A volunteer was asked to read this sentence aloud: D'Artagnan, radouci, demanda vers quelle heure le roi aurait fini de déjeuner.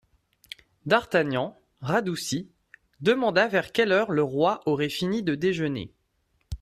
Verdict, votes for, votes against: accepted, 2, 0